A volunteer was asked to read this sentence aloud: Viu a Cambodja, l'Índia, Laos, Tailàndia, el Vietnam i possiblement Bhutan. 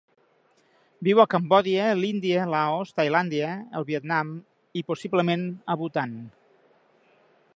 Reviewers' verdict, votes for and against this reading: rejected, 0, 2